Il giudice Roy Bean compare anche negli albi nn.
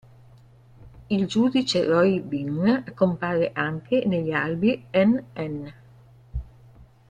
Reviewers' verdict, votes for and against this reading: accepted, 2, 1